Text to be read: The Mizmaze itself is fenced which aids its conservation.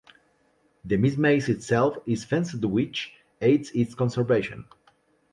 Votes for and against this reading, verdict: 0, 2, rejected